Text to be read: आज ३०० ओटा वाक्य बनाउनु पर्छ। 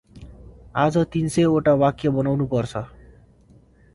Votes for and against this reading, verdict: 0, 2, rejected